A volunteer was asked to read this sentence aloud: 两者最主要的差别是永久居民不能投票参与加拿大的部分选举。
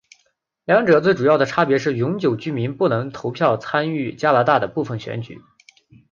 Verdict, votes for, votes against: accepted, 2, 1